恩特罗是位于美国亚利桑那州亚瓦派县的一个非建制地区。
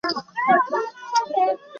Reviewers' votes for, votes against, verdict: 1, 2, rejected